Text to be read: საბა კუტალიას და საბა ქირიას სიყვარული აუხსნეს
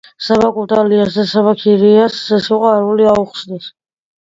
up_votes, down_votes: 2, 0